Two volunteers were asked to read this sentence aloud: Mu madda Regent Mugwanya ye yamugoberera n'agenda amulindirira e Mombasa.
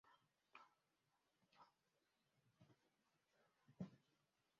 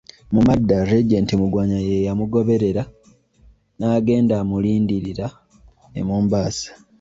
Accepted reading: second